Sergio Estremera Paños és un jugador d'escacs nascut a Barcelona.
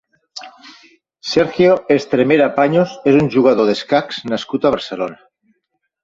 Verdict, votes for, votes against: accepted, 2, 0